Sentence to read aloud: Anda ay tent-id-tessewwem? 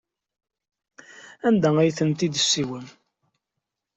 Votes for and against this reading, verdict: 2, 0, accepted